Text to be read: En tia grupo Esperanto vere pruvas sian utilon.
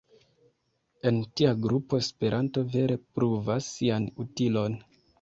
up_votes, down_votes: 2, 0